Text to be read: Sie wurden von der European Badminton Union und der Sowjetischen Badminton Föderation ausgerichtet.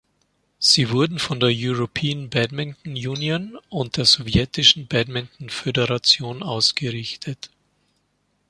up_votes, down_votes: 2, 0